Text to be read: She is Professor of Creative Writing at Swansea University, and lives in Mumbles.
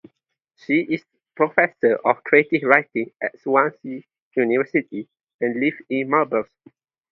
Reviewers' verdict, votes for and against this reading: accepted, 2, 0